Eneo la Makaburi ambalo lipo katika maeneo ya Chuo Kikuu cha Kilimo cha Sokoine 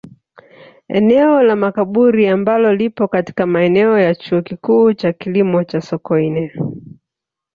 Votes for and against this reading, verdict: 3, 0, accepted